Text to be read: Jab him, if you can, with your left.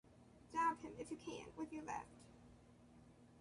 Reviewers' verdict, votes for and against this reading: rejected, 1, 2